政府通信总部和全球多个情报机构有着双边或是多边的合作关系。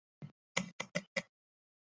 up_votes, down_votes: 0, 3